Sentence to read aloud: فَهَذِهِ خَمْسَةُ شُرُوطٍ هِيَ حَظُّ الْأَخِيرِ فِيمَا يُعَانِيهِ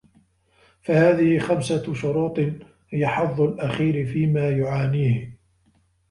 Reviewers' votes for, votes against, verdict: 0, 2, rejected